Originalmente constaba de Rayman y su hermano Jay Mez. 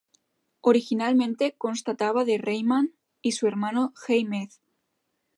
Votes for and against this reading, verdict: 1, 2, rejected